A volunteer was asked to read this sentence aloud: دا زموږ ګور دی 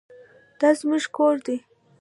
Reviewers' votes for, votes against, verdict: 1, 2, rejected